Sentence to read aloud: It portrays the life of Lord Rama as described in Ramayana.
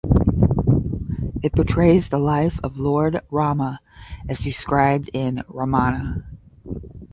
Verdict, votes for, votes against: rejected, 0, 5